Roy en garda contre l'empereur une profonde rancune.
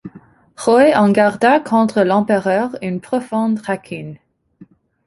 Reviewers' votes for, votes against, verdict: 2, 1, accepted